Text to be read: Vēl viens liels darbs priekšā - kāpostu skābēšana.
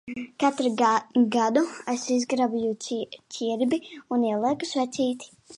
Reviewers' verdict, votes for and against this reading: rejected, 0, 2